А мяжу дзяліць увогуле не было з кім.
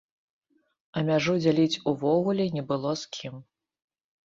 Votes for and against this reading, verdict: 2, 0, accepted